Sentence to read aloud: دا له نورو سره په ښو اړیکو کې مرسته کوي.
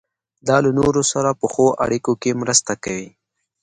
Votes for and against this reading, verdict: 2, 0, accepted